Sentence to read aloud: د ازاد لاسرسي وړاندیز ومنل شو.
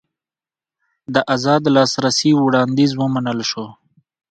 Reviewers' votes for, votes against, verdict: 2, 0, accepted